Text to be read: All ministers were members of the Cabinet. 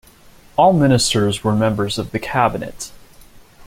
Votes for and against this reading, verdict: 2, 0, accepted